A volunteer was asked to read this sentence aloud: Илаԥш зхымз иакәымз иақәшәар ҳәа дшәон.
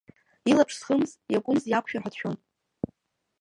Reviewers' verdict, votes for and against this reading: rejected, 0, 2